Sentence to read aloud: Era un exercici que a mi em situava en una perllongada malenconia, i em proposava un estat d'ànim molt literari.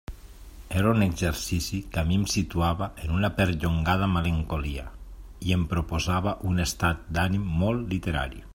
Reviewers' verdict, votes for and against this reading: rejected, 1, 2